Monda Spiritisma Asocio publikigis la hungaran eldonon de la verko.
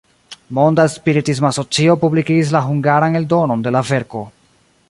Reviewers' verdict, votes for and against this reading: rejected, 1, 2